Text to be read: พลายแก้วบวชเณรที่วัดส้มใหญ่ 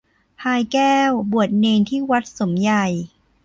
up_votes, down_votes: 1, 2